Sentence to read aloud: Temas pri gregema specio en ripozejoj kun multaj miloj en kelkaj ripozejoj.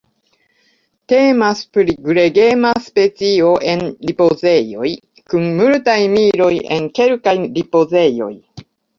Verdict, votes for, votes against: accepted, 2, 0